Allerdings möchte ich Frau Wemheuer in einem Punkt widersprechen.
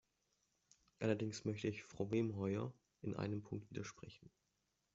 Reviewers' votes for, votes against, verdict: 1, 2, rejected